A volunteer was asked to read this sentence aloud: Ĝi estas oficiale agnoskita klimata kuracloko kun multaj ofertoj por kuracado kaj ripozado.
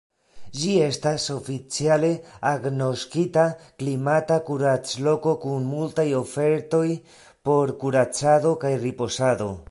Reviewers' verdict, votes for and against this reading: accepted, 2, 1